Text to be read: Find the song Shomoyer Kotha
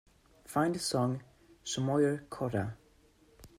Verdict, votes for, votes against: accepted, 2, 0